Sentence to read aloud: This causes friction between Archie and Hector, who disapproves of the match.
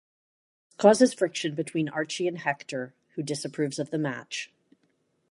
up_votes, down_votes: 1, 2